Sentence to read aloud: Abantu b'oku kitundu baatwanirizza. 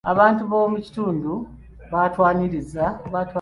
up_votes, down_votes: 1, 3